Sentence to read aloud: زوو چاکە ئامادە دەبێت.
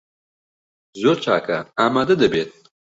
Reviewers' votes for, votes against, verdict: 0, 2, rejected